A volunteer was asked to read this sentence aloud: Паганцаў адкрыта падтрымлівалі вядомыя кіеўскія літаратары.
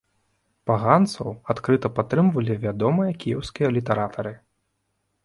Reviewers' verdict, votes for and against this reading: rejected, 1, 2